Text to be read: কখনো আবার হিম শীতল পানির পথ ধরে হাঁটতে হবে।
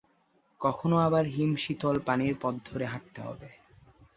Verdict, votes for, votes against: accepted, 4, 0